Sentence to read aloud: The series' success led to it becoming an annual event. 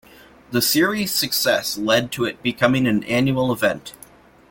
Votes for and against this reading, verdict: 2, 1, accepted